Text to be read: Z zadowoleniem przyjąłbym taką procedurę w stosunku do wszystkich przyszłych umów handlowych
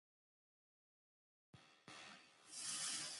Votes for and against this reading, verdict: 0, 2, rejected